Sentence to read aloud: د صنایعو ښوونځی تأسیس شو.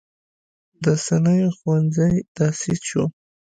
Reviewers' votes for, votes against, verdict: 1, 2, rejected